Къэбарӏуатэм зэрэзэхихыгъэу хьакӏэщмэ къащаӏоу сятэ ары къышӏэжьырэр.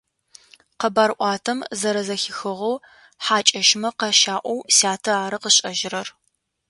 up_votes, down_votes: 2, 0